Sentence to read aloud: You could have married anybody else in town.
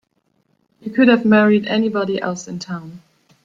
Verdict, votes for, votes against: accepted, 2, 0